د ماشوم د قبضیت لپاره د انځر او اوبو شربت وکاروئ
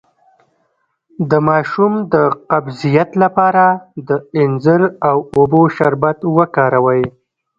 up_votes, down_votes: 1, 2